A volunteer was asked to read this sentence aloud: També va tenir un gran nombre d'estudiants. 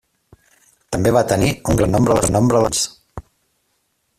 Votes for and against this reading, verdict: 0, 2, rejected